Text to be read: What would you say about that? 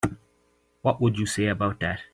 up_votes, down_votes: 2, 0